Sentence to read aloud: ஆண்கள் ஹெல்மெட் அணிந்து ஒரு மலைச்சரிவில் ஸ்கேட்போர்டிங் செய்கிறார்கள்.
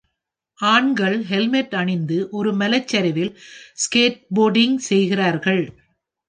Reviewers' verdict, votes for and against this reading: rejected, 1, 2